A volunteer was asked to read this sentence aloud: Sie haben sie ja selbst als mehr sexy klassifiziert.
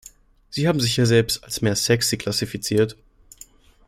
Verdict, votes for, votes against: rejected, 1, 2